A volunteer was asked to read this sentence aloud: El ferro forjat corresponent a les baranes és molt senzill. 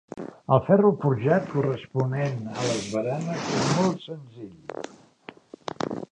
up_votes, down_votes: 0, 2